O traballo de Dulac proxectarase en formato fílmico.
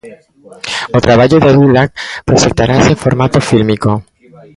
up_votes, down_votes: 2, 0